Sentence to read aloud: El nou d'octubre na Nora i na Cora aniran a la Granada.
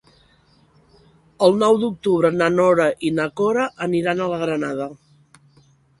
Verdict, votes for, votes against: accepted, 3, 0